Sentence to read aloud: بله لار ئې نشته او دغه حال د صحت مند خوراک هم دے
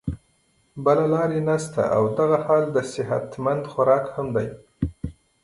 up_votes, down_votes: 0, 2